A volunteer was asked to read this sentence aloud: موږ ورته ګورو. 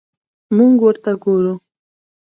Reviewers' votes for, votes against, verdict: 0, 2, rejected